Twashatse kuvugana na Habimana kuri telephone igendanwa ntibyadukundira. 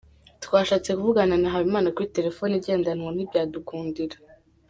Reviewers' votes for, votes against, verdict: 2, 1, accepted